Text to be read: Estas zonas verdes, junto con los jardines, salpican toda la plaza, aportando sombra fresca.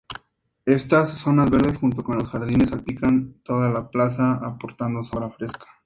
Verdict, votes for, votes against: accepted, 2, 0